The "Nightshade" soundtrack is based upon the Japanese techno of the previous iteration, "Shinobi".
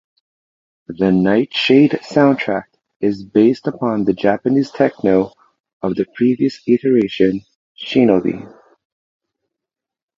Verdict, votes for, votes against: accepted, 2, 0